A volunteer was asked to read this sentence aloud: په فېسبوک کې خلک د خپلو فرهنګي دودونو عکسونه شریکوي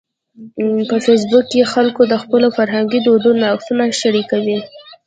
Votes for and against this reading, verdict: 0, 2, rejected